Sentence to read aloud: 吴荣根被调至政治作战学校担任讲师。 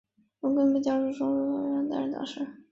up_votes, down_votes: 0, 2